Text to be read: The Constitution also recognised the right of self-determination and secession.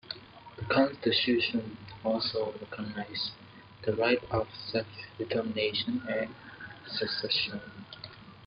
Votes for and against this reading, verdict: 1, 2, rejected